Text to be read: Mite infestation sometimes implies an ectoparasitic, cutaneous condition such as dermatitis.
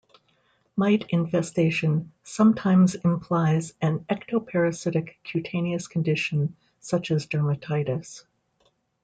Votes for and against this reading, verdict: 2, 0, accepted